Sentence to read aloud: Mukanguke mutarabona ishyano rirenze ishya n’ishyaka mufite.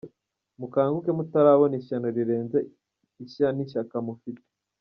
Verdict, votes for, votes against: accepted, 2, 0